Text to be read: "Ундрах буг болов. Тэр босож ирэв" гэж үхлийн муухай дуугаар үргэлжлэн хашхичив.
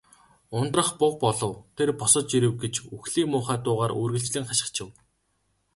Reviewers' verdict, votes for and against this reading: rejected, 0, 2